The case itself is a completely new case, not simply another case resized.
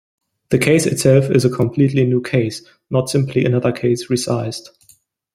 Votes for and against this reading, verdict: 0, 2, rejected